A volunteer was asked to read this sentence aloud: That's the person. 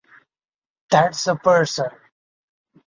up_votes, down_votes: 0, 2